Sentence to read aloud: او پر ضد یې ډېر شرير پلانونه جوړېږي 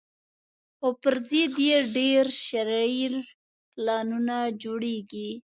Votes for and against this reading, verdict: 1, 2, rejected